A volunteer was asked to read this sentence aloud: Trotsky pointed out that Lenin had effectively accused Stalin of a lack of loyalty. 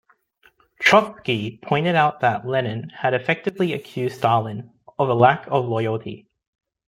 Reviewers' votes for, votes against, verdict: 2, 0, accepted